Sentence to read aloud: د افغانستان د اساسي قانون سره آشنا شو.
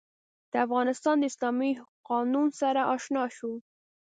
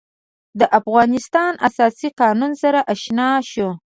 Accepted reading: second